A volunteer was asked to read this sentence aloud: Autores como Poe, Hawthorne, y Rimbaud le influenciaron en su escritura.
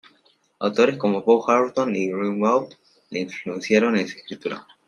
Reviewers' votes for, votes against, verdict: 1, 2, rejected